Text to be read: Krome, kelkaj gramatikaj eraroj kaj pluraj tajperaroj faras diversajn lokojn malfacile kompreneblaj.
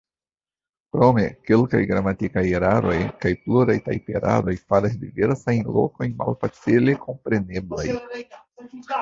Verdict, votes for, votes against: rejected, 0, 2